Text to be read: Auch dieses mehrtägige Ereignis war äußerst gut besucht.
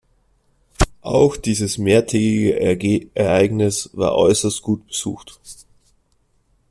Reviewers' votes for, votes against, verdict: 1, 2, rejected